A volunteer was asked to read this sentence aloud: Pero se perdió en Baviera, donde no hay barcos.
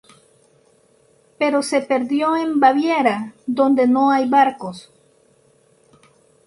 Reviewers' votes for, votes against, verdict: 2, 0, accepted